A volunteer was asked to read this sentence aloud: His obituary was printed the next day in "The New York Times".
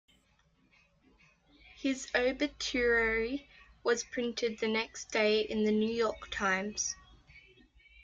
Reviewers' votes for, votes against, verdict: 1, 2, rejected